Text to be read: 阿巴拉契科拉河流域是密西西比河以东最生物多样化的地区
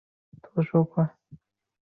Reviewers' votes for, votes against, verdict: 2, 0, accepted